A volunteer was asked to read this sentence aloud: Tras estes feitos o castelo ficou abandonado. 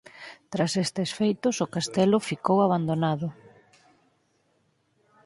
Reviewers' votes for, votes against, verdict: 8, 0, accepted